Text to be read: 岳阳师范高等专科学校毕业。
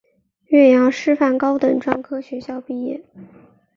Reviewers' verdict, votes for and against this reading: accepted, 6, 1